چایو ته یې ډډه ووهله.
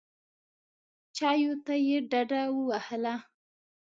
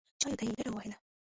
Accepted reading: first